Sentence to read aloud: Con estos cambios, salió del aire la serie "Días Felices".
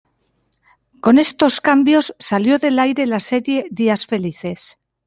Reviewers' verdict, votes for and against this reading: accepted, 2, 0